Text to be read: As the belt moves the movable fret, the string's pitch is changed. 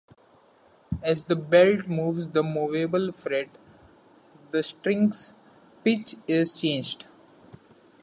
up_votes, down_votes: 2, 0